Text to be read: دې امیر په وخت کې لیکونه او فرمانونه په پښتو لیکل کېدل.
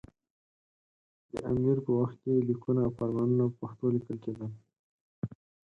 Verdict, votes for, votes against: accepted, 4, 0